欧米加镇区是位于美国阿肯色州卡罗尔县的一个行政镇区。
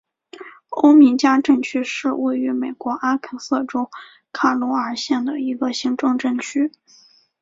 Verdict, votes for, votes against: accepted, 3, 1